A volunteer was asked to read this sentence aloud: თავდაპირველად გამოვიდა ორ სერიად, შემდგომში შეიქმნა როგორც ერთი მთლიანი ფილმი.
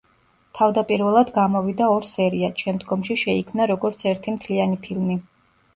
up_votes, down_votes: 2, 0